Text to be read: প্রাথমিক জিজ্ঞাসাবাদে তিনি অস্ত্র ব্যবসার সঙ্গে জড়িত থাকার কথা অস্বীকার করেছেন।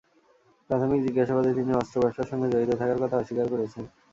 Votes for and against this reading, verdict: 2, 0, accepted